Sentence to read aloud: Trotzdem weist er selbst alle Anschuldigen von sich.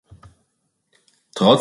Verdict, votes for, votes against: rejected, 0, 2